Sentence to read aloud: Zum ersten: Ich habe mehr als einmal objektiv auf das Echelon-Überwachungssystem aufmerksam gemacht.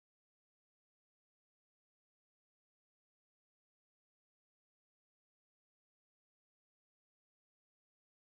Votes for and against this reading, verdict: 0, 2, rejected